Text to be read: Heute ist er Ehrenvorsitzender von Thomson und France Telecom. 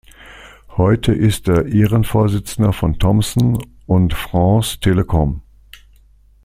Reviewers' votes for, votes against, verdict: 2, 0, accepted